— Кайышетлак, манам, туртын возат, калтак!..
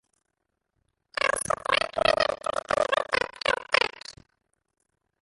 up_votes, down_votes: 0, 2